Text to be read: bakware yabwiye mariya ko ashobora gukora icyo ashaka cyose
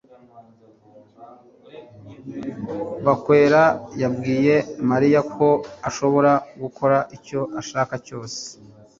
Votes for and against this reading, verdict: 1, 2, rejected